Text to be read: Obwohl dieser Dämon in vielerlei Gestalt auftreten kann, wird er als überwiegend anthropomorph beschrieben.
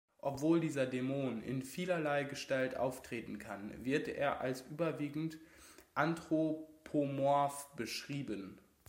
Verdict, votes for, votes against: accepted, 2, 0